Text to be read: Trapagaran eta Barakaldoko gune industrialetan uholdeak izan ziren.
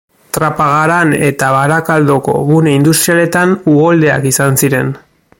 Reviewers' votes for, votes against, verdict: 2, 0, accepted